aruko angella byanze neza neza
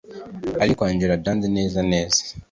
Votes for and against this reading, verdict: 3, 1, accepted